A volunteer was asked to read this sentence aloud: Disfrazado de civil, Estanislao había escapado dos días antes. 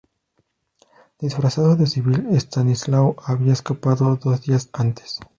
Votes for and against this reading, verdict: 2, 0, accepted